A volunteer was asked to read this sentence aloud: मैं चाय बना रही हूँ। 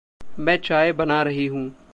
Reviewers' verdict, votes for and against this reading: accepted, 2, 0